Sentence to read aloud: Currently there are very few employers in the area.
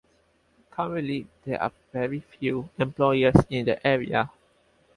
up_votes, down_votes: 4, 0